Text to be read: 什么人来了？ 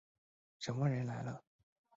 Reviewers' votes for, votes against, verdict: 2, 0, accepted